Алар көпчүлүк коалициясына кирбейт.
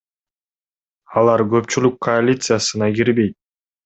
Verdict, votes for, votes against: accepted, 2, 0